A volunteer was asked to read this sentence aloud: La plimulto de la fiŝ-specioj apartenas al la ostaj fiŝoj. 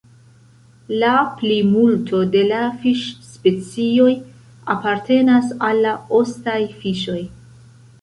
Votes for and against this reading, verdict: 2, 0, accepted